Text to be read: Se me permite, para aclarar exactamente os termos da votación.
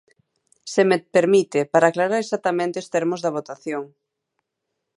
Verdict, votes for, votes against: accepted, 2, 1